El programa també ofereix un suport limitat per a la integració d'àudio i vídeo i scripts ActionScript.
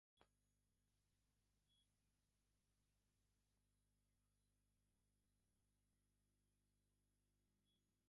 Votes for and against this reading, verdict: 0, 3, rejected